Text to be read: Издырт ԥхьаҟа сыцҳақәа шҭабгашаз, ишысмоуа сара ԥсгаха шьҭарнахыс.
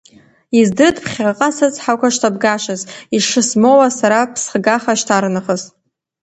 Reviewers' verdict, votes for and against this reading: rejected, 0, 2